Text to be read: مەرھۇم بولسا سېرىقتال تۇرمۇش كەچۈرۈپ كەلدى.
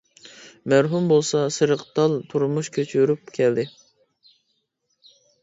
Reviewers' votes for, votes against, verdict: 2, 0, accepted